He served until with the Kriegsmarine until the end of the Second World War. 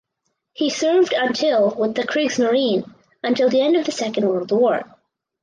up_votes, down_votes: 4, 0